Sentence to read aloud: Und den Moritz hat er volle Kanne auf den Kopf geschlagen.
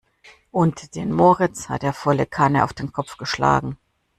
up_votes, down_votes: 2, 0